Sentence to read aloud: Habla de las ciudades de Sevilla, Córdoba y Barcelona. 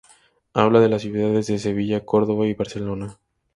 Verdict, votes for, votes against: accepted, 2, 0